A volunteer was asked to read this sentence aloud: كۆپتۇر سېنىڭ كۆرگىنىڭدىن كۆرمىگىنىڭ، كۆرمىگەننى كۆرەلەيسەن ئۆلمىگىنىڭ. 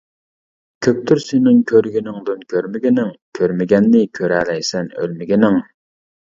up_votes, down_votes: 2, 0